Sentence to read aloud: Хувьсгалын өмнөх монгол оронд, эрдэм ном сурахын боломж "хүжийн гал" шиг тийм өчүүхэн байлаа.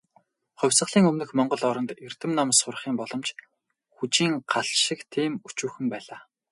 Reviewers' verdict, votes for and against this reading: rejected, 0, 2